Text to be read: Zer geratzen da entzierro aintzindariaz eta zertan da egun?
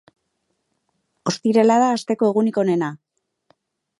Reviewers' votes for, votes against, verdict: 0, 2, rejected